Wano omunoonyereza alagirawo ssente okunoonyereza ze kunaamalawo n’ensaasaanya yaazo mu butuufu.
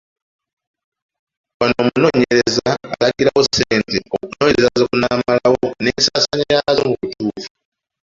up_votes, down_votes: 3, 4